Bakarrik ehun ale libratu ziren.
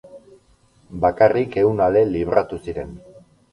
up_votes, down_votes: 6, 0